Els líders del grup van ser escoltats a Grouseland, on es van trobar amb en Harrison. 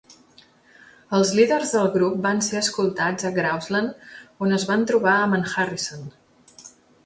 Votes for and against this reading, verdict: 2, 0, accepted